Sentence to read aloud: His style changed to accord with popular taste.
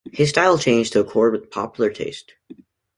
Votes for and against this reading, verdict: 2, 0, accepted